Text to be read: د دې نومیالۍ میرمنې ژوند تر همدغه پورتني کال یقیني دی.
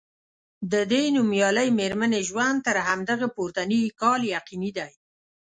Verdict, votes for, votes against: accepted, 2, 0